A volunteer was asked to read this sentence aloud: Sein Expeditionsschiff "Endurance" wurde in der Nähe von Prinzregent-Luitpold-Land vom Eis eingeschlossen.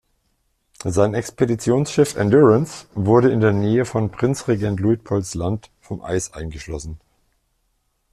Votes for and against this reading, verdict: 0, 2, rejected